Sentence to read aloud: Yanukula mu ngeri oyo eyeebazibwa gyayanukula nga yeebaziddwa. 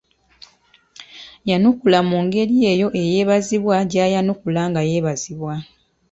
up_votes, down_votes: 1, 2